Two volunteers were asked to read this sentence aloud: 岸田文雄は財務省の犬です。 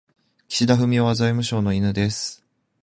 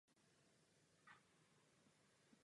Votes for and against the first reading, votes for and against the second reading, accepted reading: 2, 0, 0, 2, first